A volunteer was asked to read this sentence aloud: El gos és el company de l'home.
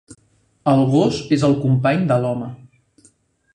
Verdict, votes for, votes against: accepted, 3, 0